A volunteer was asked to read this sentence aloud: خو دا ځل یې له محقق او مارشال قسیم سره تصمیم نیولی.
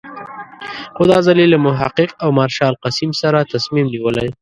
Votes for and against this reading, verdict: 1, 2, rejected